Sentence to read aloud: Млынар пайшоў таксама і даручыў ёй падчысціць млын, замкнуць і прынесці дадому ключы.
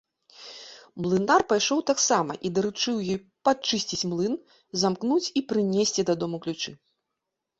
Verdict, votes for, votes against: accepted, 2, 0